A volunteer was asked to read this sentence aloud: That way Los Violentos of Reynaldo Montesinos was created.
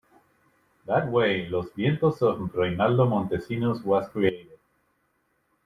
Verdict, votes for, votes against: rejected, 1, 2